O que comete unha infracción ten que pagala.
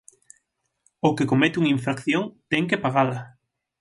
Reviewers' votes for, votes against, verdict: 9, 0, accepted